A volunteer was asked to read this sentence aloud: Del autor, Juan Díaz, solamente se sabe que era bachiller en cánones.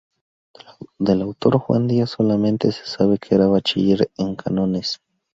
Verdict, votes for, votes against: rejected, 0, 2